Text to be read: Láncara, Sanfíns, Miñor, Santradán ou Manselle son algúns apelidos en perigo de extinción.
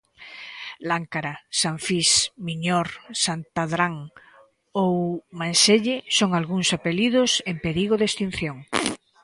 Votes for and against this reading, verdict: 1, 2, rejected